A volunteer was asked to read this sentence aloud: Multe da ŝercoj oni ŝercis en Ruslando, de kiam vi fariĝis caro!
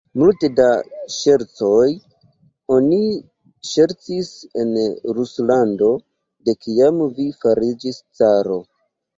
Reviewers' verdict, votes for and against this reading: accepted, 2, 1